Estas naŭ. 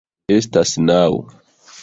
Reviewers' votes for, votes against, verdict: 1, 2, rejected